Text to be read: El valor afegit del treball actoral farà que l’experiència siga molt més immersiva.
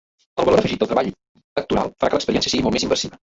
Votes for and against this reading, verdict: 0, 2, rejected